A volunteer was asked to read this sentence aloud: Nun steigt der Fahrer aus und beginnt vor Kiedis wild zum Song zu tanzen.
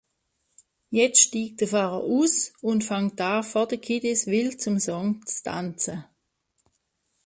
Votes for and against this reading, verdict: 0, 2, rejected